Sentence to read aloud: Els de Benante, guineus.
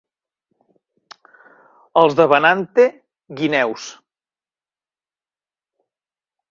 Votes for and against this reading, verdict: 2, 0, accepted